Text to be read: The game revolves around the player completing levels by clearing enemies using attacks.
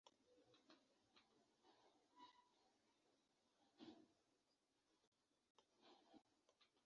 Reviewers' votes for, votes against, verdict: 0, 2, rejected